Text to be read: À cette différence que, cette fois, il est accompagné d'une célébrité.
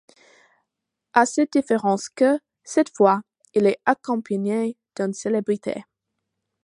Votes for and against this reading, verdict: 2, 0, accepted